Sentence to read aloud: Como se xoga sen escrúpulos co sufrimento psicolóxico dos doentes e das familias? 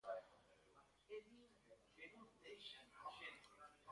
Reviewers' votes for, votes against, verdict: 0, 2, rejected